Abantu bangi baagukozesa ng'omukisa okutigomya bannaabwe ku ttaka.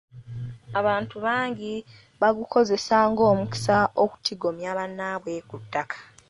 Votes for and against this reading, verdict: 2, 0, accepted